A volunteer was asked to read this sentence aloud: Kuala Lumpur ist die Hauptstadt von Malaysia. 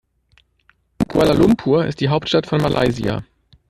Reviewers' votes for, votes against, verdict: 1, 2, rejected